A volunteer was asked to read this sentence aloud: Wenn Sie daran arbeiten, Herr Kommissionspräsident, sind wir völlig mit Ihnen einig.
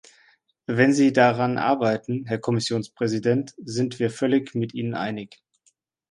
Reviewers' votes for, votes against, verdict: 2, 0, accepted